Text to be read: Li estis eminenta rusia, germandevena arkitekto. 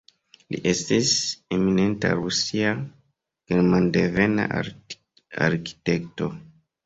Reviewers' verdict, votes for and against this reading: accepted, 2, 1